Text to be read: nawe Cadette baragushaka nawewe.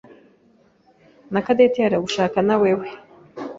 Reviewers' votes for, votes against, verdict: 0, 2, rejected